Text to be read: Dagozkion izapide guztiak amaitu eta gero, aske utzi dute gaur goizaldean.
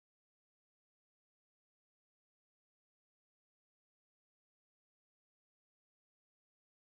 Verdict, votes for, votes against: rejected, 0, 2